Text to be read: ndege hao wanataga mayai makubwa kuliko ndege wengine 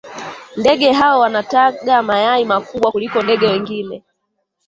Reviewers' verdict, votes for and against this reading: accepted, 2, 0